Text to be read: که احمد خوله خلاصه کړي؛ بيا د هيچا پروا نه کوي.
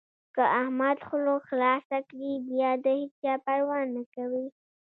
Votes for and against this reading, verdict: 3, 1, accepted